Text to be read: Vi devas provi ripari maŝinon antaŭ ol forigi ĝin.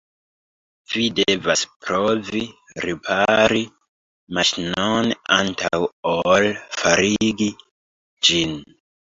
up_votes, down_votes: 0, 2